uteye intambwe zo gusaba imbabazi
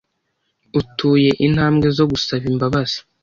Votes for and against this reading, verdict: 1, 2, rejected